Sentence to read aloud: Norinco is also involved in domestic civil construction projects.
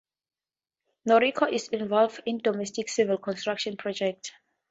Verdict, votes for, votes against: accepted, 2, 0